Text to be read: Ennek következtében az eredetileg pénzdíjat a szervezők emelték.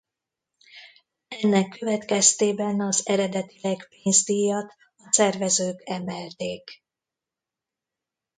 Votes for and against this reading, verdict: 2, 1, accepted